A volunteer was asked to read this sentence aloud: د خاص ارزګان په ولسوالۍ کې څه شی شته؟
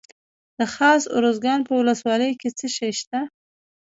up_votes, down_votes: 1, 2